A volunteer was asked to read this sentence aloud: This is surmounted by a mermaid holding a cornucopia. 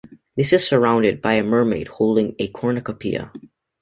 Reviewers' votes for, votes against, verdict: 0, 2, rejected